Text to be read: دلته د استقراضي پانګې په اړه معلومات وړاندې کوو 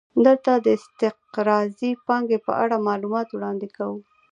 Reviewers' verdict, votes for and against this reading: accepted, 2, 0